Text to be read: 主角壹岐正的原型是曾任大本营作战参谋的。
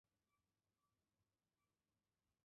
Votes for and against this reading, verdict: 0, 2, rejected